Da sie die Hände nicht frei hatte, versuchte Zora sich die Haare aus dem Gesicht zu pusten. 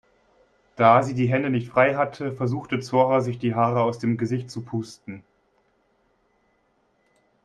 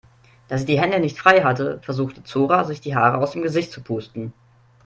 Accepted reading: first